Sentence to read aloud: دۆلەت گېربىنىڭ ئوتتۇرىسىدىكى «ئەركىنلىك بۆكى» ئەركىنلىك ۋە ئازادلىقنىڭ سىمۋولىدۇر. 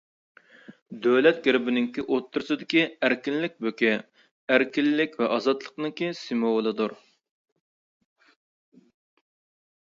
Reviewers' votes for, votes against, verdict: 0, 2, rejected